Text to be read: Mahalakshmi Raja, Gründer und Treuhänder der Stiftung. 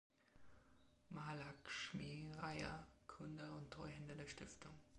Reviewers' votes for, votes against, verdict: 2, 0, accepted